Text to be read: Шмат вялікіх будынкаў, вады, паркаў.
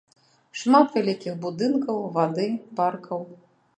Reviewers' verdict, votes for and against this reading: accepted, 2, 0